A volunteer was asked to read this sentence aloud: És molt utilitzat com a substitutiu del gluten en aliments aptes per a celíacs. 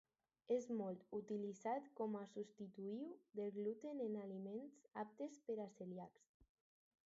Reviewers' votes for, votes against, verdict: 0, 4, rejected